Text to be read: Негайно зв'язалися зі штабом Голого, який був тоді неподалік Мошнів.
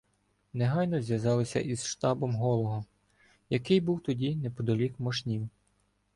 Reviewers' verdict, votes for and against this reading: rejected, 1, 2